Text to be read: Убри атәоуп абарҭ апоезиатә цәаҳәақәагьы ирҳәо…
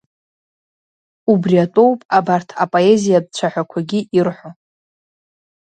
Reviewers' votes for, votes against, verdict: 2, 0, accepted